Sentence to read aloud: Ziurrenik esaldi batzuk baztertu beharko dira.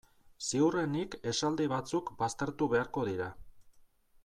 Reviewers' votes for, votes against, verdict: 2, 0, accepted